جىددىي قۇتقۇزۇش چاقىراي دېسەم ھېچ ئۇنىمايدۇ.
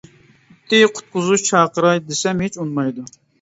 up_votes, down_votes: 0, 2